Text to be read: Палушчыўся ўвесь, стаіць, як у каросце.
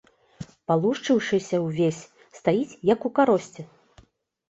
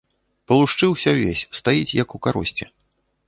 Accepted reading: second